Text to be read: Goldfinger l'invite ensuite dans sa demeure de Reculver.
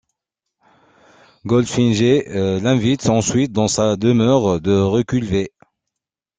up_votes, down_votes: 1, 2